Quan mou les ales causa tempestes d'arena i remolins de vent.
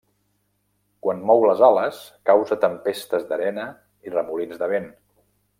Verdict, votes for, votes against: rejected, 0, 2